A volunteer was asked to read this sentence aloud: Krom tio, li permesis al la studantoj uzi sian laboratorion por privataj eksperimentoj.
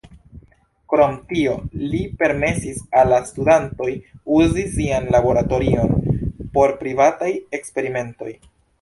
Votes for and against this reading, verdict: 1, 2, rejected